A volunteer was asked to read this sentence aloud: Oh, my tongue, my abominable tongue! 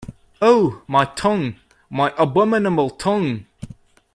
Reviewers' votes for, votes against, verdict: 1, 2, rejected